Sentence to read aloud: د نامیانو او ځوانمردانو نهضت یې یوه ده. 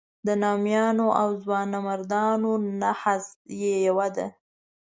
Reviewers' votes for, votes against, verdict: 1, 2, rejected